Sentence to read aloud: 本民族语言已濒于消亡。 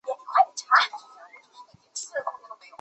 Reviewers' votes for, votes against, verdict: 0, 3, rejected